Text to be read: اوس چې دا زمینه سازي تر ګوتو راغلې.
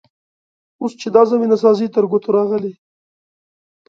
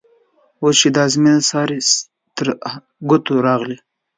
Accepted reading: first